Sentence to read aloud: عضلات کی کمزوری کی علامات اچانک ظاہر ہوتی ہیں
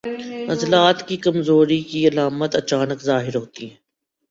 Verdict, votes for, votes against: accepted, 4, 0